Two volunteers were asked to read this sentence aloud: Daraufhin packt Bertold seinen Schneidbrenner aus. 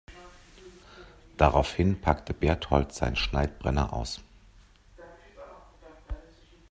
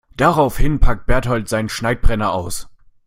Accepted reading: second